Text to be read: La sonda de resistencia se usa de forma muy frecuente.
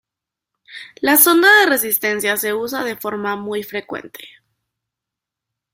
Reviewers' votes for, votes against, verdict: 2, 0, accepted